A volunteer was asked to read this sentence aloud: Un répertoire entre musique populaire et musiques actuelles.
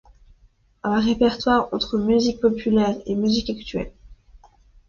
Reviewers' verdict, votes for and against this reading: accepted, 2, 0